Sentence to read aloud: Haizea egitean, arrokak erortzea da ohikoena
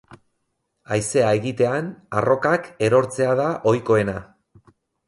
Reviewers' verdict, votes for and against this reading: accepted, 8, 0